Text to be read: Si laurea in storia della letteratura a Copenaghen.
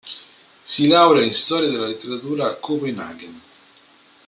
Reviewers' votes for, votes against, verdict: 2, 0, accepted